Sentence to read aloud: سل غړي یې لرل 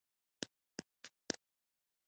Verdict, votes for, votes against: rejected, 1, 2